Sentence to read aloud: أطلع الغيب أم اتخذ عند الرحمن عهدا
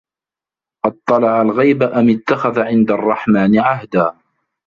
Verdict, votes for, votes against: accepted, 3, 1